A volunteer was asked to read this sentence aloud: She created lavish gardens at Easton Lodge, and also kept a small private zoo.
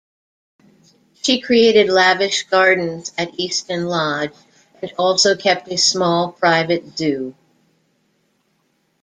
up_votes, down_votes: 0, 2